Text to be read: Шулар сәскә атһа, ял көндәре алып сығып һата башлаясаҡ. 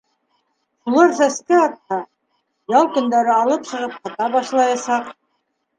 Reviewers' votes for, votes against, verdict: 0, 2, rejected